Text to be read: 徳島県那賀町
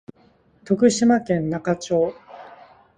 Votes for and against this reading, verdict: 2, 0, accepted